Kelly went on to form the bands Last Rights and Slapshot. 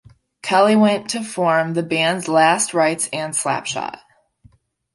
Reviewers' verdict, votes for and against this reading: rejected, 0, 2